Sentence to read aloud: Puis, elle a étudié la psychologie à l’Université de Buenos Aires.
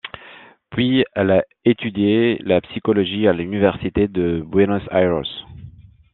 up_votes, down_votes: 0, 2